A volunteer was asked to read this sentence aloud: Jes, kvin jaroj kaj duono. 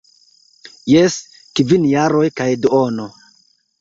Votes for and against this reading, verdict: 2, 0, accepted